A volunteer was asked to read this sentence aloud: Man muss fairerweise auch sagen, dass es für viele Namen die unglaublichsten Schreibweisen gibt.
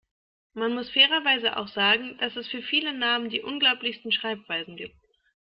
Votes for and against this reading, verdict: 1, 2, rejected